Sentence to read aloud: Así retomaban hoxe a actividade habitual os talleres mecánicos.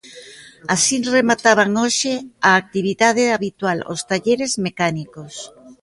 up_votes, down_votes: 1, 2